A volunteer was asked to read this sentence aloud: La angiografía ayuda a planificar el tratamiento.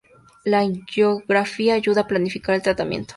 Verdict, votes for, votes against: accepted, 2, 0